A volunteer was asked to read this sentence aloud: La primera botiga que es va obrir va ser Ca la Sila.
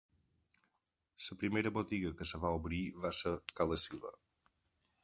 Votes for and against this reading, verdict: 0, 2, rejected